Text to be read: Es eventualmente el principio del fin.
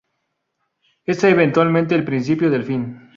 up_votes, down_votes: 2, 0